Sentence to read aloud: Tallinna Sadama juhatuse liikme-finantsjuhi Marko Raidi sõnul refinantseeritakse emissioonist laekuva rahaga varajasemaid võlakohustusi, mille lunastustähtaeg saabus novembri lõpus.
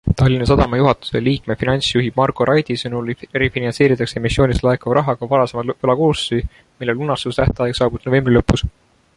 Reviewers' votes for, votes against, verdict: 1, 2, rejected